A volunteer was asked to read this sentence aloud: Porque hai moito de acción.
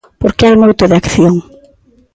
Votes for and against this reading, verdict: 2, 0, accepted